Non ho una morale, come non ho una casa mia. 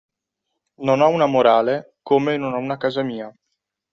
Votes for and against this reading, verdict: 2, 0, accepted